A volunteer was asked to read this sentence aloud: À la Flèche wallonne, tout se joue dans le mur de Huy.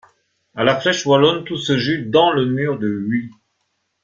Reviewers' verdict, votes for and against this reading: rejected, 0, 2